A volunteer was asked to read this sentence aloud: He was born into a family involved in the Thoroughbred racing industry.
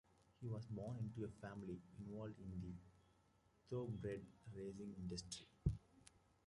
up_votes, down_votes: 1, 2